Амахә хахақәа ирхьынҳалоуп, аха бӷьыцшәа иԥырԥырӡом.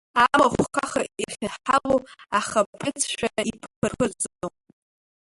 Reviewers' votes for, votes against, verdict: 0, 2, rejected